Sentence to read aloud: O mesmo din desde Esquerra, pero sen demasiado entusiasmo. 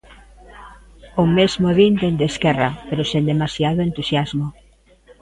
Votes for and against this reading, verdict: 0, 3, rejected